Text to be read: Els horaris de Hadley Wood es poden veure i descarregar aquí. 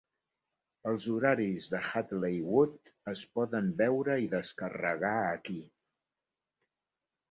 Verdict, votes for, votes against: accepted, 2, 0